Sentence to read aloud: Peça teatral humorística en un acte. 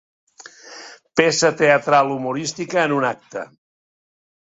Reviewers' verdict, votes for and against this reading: accepted, 2, 0